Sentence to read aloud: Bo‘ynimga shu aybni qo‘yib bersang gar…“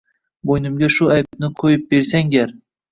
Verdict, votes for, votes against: rejected, 1, 2